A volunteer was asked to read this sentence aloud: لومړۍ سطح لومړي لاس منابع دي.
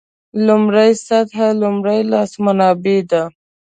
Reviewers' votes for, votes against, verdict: 0, 2, rejected